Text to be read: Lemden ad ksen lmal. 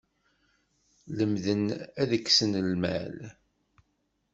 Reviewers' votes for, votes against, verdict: 2, 0, accepted